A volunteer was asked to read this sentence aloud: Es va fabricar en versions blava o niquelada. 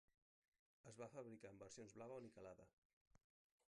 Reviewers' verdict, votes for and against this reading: rejected, 1, 2